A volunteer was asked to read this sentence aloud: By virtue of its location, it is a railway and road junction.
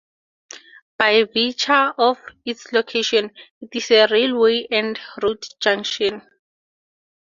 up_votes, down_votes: 2, 0